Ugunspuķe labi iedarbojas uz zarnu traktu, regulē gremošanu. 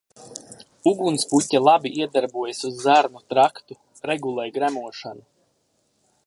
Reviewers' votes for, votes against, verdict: 2, 0, accepted